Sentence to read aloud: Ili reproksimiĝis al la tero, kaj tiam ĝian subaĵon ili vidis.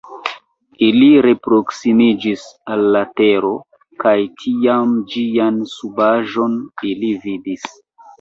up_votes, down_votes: 1, 2